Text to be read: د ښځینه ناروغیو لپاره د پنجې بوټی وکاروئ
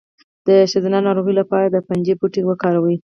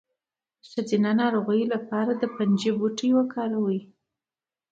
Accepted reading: second